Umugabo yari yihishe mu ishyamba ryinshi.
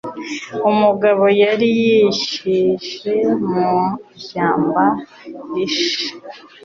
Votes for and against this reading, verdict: 1, 2, rejected